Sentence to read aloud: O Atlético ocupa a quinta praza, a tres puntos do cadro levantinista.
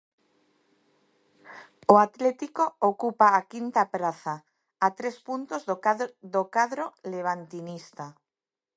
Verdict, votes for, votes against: rejected, 0, 3